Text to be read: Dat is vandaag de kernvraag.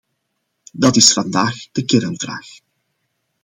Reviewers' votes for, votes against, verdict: 2, 0, accepted